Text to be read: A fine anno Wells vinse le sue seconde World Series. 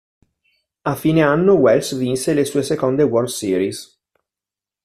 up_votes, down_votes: 2, 0